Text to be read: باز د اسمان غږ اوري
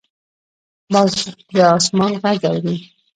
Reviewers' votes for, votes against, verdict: 0, 2, rejected